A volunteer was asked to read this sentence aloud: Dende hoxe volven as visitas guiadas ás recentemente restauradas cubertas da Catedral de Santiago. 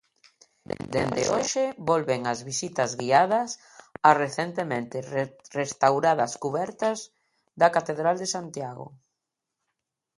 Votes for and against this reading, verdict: 0, 2, rejected